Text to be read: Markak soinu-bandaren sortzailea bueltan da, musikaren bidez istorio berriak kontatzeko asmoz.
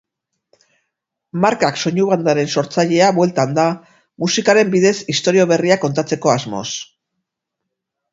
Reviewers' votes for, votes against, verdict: 4, 0, accepted